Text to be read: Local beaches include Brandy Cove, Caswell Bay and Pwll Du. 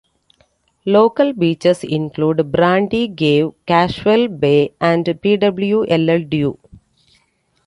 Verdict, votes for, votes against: rejected, 1, 2